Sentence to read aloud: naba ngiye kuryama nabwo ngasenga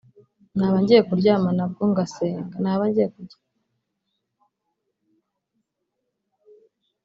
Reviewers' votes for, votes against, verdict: 1, 2, rejected